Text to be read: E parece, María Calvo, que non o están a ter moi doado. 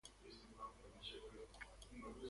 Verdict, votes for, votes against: rejected, 1, 3